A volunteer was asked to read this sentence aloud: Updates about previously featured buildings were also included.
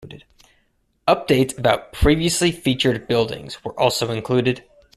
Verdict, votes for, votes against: rejected, 0, 2